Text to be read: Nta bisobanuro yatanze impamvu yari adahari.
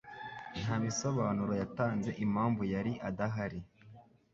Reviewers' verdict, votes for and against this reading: accepted, 2, 0